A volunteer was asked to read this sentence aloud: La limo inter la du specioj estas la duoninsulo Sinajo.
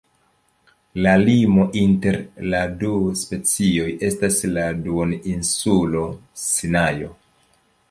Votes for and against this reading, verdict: 2, 0, accepted